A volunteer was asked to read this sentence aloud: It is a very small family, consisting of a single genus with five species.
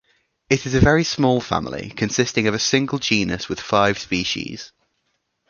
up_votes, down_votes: 2, 0